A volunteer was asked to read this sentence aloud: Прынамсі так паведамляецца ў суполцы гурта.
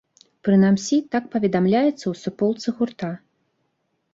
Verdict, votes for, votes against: accepted, 2, 0